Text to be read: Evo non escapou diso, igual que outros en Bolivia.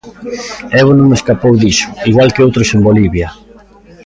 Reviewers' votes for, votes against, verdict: 2, 0, accepted